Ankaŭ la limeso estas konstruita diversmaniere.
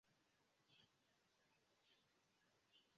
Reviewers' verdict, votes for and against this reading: rejected, 0, 2